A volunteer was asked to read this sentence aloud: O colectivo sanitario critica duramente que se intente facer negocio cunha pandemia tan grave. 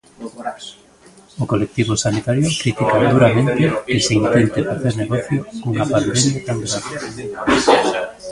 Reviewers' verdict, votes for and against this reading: accepted, 2, 0